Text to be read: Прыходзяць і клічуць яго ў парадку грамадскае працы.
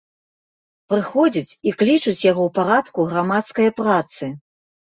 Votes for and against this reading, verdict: 2, 0, accepted